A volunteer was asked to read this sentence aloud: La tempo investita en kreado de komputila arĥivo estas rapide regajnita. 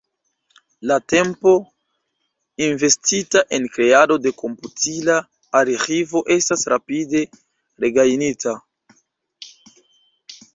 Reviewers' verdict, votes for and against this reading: rejected, 0, 2